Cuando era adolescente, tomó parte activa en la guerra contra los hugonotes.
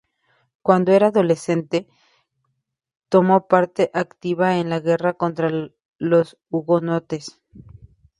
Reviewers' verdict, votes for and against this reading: accepted, 4, 0